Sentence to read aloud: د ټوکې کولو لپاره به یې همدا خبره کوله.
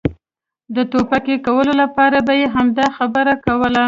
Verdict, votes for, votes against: rejected, 1, 2